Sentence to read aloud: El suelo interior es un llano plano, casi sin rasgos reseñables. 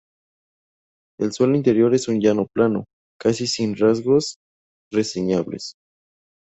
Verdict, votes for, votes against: accepted, 4, 0